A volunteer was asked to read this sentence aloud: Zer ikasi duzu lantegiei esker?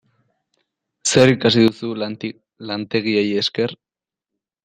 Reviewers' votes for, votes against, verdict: 0, 2, rejected